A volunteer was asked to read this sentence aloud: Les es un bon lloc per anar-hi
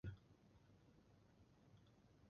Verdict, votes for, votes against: rejected, 0, 2